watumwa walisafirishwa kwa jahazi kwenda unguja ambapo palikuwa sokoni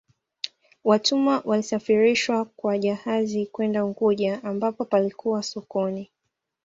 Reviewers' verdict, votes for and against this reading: accepted, 2, 0